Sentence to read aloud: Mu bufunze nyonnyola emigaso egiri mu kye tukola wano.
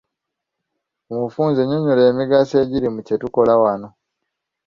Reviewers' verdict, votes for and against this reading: accepted, 2, 0